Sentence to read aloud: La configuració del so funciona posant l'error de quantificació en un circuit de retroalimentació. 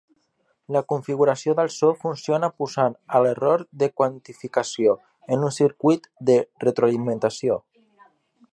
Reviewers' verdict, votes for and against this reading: rejected, 0, 2